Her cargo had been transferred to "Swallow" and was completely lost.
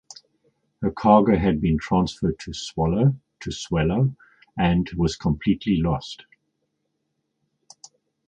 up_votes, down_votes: 0, 2